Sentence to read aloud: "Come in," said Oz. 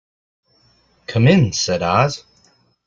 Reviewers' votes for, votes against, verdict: 2, 0, accepted